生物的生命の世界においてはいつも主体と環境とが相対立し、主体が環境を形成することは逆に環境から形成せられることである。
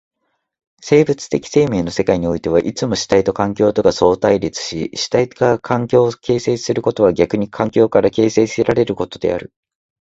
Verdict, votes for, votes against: accepted, 2, 0